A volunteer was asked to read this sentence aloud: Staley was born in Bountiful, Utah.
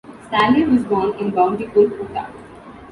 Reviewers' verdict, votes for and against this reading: accepted, 2, 0